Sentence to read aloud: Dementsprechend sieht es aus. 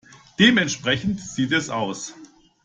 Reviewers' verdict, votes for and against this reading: accepted, 2, 0